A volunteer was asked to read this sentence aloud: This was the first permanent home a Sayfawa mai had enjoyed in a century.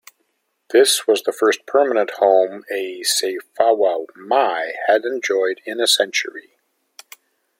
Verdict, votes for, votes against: accepted, 2, 1